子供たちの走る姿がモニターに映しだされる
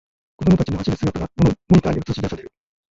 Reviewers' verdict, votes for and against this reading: rejected, 0, 2